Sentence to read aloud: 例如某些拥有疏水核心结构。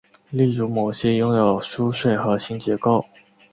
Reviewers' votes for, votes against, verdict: 2, 0, accepted